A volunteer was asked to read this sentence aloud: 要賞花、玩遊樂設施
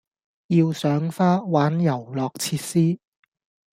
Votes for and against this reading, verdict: 2, 0, accepted